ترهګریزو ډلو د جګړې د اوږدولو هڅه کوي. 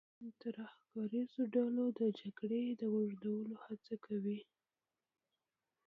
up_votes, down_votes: 2, 1